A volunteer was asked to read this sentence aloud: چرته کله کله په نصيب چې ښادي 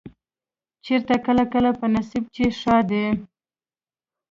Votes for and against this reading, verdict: 1, 2, rejected